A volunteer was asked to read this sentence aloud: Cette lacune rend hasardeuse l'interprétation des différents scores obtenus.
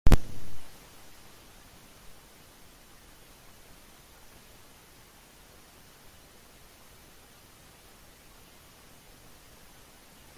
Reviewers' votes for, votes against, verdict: 0, 2, rejected